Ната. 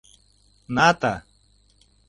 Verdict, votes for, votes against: accepted, 3, 0